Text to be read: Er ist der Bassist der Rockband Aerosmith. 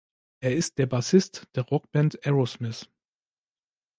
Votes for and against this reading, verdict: 2, 0, accepted